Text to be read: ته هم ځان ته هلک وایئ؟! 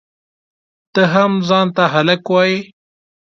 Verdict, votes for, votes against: accepted, 2, 0